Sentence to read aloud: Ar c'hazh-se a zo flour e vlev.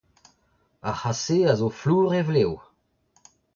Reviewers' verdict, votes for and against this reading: accepted, 2, 1